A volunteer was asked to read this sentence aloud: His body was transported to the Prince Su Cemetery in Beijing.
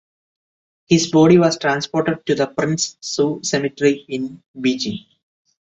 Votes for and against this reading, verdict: 2, 0, accepted